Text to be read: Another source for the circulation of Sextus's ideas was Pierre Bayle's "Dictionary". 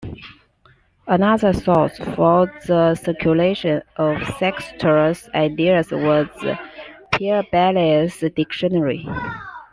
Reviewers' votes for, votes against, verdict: 2, 1, accepted